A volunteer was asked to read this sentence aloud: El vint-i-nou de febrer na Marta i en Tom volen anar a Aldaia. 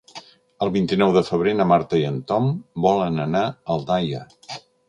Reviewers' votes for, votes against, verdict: 2, 0, accepted